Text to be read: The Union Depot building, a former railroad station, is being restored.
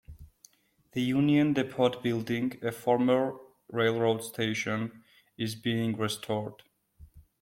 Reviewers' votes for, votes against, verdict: 0, 2, rejected